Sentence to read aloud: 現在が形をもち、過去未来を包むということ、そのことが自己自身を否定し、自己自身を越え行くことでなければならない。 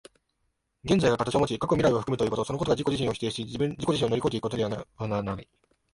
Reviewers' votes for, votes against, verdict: 0, 2, rejected